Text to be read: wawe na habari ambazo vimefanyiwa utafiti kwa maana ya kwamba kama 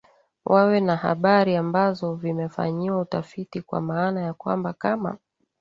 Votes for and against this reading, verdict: 2, 1, accepted